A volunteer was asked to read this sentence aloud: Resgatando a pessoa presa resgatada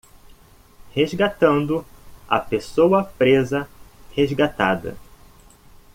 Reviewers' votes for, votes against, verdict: 2, 0, accepted